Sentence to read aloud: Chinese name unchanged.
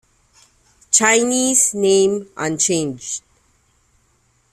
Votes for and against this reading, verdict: 0, 2, rejected